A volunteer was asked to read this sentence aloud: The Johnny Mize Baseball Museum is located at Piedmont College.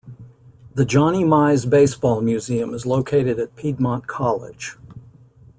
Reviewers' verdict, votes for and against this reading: accepted, 2, 0